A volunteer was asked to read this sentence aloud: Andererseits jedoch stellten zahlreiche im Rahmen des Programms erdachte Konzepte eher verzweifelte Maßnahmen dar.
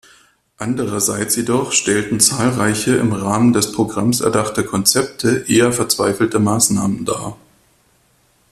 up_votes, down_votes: 2, 0